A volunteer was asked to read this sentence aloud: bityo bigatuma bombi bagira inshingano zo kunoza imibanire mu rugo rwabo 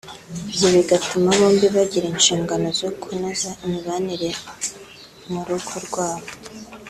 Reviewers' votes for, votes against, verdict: 2, 0, accepted